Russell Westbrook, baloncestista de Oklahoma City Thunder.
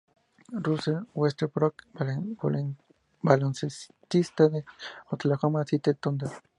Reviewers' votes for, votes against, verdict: 0, 2, rejected